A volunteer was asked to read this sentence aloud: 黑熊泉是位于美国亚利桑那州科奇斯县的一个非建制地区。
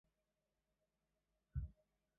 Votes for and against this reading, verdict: 0, 2, rejected